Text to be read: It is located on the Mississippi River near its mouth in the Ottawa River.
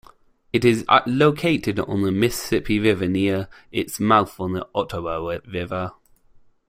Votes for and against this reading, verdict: 0, 2, rejected